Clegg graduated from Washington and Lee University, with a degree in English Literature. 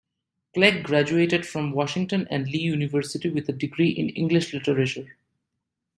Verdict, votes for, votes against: accepted, 2, 0